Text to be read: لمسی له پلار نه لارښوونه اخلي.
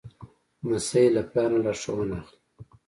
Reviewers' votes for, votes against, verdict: 2, 0, accepted